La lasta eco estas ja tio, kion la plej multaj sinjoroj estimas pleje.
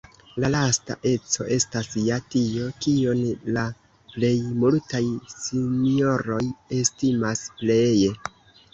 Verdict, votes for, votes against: accepted, 3, 1